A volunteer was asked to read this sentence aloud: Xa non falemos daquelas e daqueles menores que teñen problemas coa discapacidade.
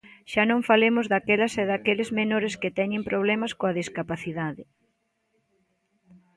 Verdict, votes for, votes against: rejected, 1, 2